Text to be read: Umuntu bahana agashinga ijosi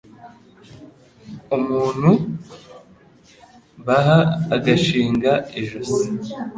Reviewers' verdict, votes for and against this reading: rejected, 1, 2